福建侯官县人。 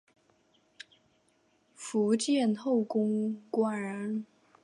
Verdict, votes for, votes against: rejected, 0, 2